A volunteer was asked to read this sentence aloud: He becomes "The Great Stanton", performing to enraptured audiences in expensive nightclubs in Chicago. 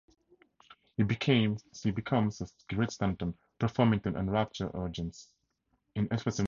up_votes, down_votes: 0, 2